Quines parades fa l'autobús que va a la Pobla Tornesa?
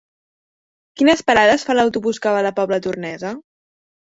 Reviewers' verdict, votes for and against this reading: accepted, 5, 0